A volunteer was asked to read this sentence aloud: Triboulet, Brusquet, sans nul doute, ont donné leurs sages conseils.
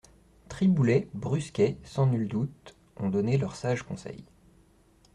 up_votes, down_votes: 2, 0